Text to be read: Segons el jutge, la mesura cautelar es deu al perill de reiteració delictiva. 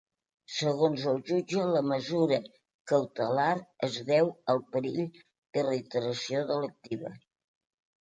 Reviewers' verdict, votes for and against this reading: accepted, 2, 0